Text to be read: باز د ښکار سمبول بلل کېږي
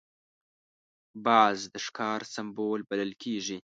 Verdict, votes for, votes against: accepted, 2, 0